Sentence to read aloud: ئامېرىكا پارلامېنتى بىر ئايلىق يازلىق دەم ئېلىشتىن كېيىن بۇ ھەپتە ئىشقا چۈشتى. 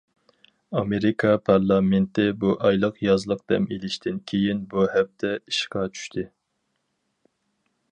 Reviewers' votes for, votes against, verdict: 0, 4, rejected